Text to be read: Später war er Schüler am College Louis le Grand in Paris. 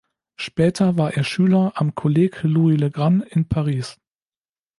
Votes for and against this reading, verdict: 1, 2, rejected